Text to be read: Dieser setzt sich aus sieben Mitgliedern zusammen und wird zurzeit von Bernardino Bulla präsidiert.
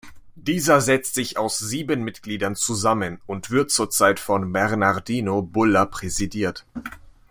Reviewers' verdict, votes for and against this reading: accepted, 2, 0